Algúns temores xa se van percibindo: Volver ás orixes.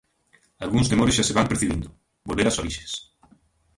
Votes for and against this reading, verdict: 0, 2, rejected